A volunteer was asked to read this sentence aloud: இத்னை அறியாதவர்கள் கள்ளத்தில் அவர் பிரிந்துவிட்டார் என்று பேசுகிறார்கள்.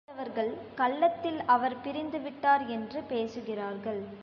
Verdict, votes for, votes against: rejected, 0, 3